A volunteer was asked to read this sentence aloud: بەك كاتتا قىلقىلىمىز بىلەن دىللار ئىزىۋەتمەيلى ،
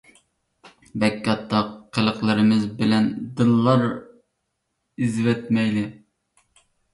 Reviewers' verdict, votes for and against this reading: rejected, 1, 2